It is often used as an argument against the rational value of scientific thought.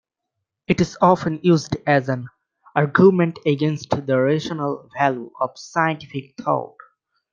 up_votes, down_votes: 1, 2